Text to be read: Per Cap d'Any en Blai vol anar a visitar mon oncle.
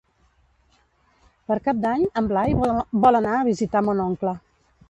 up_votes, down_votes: 1, 2